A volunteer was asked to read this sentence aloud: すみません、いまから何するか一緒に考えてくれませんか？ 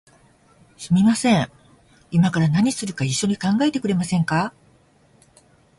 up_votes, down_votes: 2, 0